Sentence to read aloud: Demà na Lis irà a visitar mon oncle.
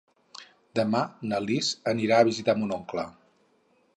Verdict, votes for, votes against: rejected, 0, 2